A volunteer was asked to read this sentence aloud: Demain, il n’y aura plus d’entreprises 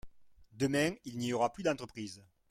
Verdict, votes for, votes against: rejected, 1, 2